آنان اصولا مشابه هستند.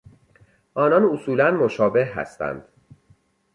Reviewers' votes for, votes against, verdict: 2, 0, accepted